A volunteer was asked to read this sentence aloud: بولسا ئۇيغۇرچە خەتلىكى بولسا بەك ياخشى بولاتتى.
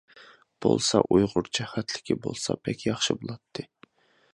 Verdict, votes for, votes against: accepted, 2, 0